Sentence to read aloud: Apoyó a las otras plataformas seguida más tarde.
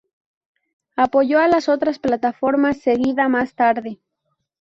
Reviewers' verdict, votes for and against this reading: accepted, 2, 0